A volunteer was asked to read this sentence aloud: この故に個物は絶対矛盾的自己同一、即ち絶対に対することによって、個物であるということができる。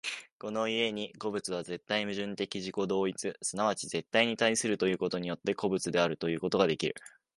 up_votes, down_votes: 2, 0